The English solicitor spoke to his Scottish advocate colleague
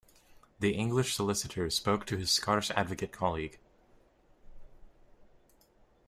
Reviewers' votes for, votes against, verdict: 2, 0, accepted